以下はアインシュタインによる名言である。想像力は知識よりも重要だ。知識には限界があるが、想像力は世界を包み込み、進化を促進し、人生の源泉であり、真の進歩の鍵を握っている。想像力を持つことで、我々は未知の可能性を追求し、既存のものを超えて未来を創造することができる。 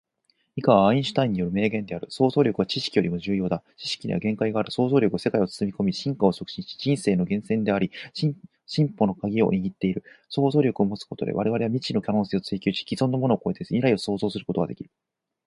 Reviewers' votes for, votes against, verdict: 2, 4, rejected